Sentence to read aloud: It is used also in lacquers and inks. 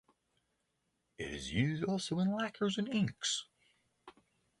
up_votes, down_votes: 3, 0